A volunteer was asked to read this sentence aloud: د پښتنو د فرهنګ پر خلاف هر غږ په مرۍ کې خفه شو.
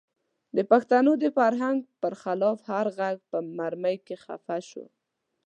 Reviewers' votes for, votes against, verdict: 2, 1, accepted